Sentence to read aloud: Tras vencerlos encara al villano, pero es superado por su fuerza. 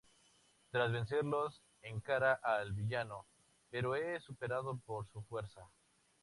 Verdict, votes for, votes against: accepted, 2, 0